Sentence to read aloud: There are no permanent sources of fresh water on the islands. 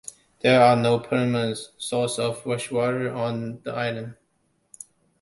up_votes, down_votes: 1, 2